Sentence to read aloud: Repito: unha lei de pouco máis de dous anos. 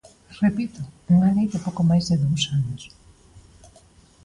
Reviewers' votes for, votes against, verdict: 2, 0, accepted